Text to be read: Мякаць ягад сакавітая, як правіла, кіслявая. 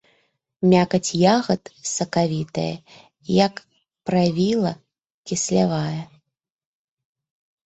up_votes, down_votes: 1, 3